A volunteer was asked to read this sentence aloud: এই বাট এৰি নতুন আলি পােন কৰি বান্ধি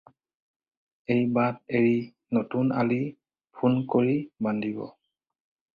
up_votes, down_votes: 0, 2